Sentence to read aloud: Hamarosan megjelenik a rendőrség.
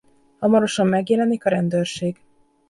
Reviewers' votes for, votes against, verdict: 2, 0, accepted